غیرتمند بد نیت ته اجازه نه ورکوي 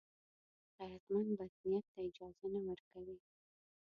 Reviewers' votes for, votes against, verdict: 0, 2, rejected